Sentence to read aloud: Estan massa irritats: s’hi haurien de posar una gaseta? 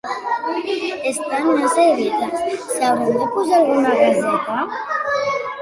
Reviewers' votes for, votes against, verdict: 0, 2, rejected